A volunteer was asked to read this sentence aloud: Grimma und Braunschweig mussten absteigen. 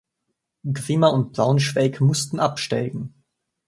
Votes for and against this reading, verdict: 1, 2, rejected